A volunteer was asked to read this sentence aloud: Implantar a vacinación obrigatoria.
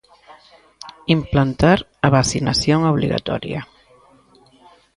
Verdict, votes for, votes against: accepted, 2, 0